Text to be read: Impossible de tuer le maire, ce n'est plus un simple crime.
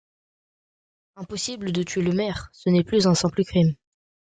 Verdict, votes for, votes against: accepted, 2, 0